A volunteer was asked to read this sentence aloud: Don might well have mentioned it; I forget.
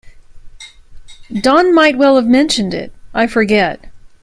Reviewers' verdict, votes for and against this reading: accepted, 2, 0